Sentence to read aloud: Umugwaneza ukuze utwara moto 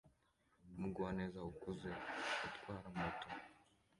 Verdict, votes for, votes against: accepted, 2, 1